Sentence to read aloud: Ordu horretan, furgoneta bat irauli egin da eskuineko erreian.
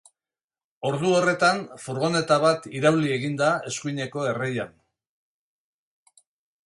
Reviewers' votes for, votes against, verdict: 2, 0, accepted